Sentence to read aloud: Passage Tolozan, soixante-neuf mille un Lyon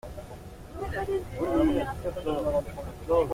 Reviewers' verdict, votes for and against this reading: rejected, 0, 2